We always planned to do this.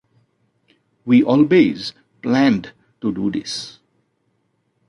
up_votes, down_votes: 2, 0